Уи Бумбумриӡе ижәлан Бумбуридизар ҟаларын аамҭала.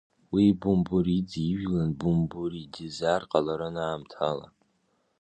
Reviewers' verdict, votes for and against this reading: rejected, 1, 2